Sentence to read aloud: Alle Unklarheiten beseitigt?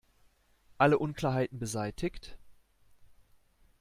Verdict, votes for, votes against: accepted, 2, 0